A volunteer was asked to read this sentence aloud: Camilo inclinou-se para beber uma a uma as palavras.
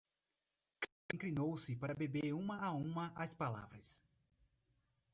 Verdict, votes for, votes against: rejected, 1, 2